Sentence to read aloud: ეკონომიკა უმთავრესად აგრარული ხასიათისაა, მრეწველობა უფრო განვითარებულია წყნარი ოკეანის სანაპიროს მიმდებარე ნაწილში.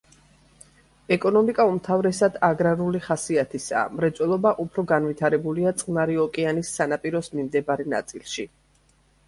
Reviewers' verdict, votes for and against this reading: accepted, 2, 0